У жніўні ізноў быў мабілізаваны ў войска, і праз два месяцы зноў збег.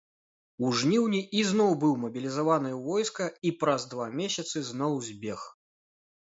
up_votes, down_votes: 3, 0